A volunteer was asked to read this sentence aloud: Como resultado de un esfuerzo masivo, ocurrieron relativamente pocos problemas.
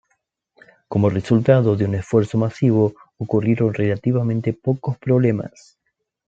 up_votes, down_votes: 1, 2